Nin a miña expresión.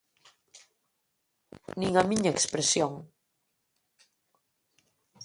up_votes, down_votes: 2, 0